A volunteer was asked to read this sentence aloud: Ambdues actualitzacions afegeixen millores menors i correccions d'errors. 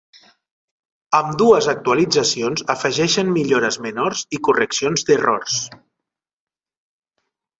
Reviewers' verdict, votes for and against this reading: accepted, 2, 0